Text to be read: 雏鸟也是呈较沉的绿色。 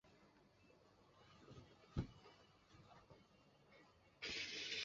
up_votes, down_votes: 0, 6